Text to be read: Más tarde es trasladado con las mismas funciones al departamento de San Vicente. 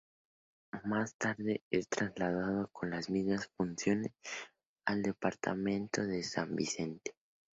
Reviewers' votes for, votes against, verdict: 2, 2, rejected